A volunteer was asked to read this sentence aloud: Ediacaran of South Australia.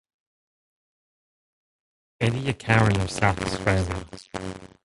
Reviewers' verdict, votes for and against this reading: rejected, 0, 2